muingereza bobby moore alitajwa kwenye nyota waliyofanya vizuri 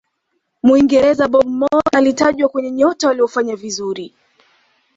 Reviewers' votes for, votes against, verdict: 2, 0, accepted